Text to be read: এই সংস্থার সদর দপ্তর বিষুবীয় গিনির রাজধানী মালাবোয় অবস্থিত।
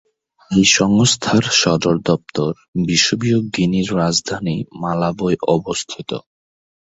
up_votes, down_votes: 2, 0